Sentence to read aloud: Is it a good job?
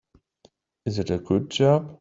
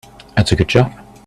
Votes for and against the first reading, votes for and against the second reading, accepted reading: 2, 1, 1, 2, first